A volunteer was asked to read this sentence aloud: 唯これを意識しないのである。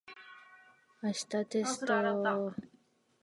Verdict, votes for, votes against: rejected, 0, 2